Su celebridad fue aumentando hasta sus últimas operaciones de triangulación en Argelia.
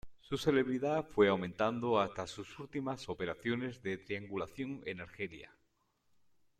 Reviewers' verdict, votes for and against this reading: accepted, 2, 0